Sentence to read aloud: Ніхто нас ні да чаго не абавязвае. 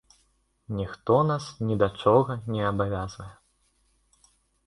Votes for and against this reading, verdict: 1, 2, rejected